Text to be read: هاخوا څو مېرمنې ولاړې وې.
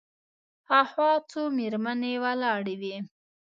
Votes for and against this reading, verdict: 3, 0, accepted